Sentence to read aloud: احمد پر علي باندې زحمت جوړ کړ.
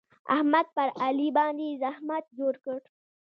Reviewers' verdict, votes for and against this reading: rejected, 0, 2